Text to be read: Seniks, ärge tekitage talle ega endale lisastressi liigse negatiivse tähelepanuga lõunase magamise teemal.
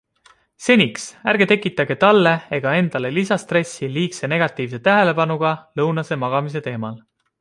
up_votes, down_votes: 2, 0